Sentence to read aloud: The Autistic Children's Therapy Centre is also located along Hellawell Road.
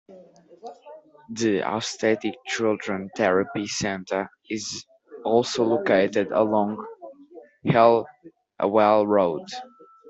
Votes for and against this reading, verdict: 0, 2, rejected